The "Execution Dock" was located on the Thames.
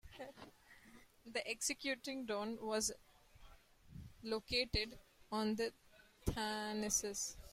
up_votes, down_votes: 0, 2